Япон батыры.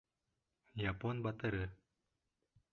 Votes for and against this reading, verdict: 3, 0, accepted